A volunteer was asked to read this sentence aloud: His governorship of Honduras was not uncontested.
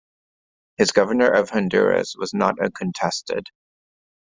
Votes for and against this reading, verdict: 0, 2, rejected